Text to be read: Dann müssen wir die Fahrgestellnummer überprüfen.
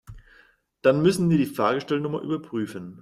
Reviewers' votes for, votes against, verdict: 2, 0, accepted